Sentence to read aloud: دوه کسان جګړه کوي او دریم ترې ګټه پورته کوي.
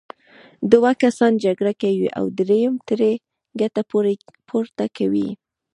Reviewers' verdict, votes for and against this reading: accepted, 2, 0